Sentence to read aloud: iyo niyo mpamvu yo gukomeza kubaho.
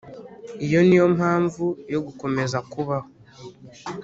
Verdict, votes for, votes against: accepted, 2, 0